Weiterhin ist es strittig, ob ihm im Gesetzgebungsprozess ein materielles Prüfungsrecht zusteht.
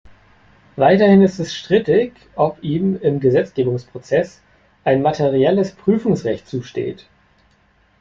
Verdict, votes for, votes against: accepted, 2, 0